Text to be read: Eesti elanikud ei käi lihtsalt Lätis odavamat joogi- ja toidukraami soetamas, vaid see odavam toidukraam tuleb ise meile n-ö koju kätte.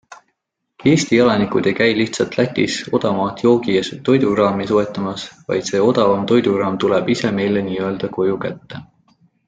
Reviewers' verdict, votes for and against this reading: accepted, 2, 0